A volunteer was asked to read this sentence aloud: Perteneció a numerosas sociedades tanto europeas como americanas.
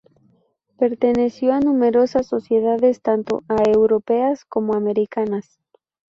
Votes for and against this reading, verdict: 0, 4, rejected